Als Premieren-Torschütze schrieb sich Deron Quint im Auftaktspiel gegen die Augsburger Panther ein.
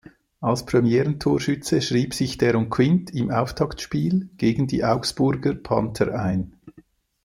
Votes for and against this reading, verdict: 2, 0, accepted